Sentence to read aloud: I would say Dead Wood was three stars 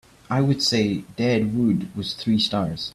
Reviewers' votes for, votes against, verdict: 2, 0, accepted